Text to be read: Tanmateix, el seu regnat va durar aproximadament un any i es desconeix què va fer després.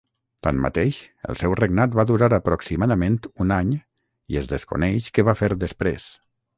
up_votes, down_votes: 3, 3